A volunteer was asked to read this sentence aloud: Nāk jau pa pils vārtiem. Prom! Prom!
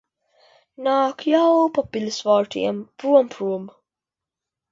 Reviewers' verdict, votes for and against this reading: rejected, 0, 2